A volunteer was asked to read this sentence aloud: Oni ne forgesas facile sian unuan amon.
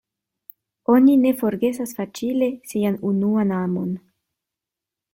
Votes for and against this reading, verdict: 1, 2, rejected